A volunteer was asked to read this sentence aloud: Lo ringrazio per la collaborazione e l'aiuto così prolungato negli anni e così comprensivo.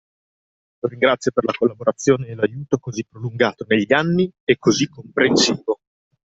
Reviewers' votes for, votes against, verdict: 1, 2, rejected